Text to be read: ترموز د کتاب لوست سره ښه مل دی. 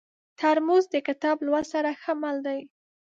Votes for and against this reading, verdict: 2, 0, accepted